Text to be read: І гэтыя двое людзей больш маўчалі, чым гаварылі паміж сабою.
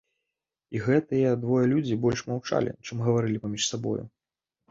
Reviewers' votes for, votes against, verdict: 0, 2, rejected